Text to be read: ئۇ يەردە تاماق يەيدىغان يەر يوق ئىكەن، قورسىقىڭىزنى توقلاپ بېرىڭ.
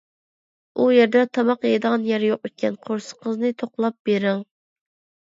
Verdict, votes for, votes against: accepted, 2, 0